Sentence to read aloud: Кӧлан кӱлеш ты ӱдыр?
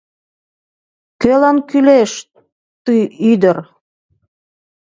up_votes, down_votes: 1, 2